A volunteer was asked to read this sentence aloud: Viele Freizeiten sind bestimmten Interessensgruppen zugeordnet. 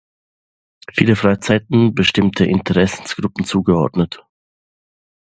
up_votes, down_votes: 0, 2